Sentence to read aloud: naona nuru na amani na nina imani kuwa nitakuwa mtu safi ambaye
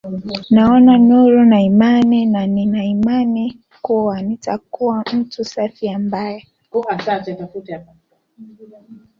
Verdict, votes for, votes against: rejected, 0, 2